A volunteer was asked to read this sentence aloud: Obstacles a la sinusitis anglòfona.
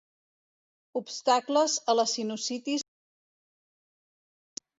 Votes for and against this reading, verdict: 0, 2, rejected